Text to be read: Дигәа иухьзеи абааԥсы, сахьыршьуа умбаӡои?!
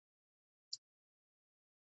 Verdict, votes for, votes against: rejected, 0, 2